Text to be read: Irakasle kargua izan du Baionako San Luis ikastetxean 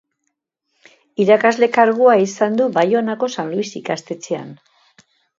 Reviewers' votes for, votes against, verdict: 2, 0, accepted